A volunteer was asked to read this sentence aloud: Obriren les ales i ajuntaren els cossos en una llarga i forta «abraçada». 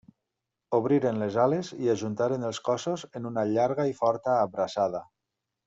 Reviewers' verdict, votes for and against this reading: accepted, 3, 0